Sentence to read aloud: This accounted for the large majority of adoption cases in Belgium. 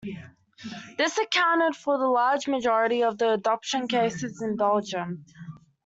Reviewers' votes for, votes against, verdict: 0, 2, rejected